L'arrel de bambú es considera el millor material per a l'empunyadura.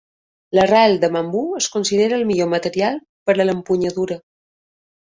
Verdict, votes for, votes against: accepted, 2, 0